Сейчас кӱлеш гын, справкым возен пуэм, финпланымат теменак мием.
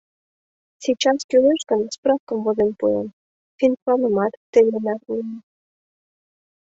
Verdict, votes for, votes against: accepted, 2, 0